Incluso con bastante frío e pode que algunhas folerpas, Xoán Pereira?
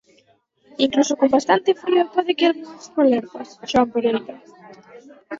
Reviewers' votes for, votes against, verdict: 2, 4, rejected